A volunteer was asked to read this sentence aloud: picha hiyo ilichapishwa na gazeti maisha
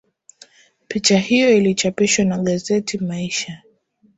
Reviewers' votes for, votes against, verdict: 2, 2, rejected